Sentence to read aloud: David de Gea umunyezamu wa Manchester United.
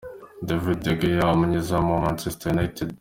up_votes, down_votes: 2, 0